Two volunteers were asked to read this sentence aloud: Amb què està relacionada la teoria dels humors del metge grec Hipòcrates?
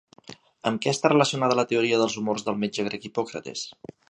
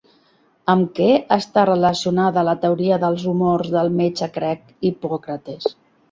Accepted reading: first